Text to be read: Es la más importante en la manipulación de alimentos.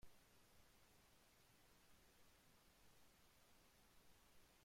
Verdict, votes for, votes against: rejected, 0, 2